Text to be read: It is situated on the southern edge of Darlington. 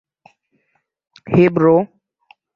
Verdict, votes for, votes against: rejected, 0, 2